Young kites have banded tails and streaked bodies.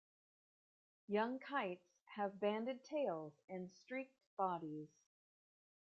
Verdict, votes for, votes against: accepted, 2, 1